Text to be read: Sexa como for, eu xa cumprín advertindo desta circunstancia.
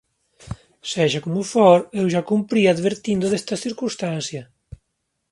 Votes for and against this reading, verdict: 2, 0, accepted